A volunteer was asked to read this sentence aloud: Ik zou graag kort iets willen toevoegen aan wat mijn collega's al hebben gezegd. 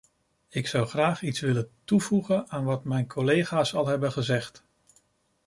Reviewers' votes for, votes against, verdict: 0, 2, rejected